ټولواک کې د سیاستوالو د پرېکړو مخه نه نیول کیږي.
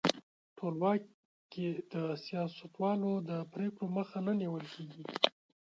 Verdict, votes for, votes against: rejected, 0, 2